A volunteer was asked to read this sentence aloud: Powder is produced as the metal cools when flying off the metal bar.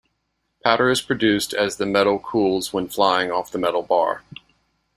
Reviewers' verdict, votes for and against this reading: accepted, 2, 0